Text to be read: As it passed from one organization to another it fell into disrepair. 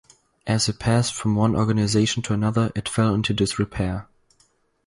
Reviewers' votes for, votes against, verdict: 2, 0, accepted